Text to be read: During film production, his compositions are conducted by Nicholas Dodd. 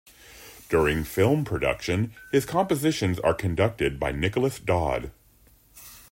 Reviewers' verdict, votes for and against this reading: accepted, 2, 0